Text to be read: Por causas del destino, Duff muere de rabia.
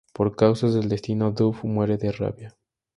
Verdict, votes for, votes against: accepted, 2, 0